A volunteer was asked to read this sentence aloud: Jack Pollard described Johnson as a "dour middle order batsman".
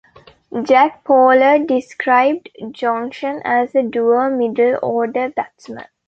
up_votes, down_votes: 0, 2